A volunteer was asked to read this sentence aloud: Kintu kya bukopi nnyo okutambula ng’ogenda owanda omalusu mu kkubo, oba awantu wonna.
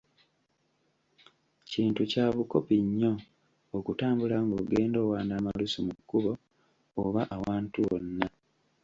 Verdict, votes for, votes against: accepted, 2, 1